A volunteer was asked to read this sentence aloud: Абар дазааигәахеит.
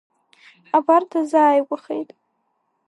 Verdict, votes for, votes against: rejected, 0, 2